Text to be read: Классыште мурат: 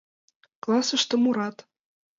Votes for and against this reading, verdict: 2, 0, accepted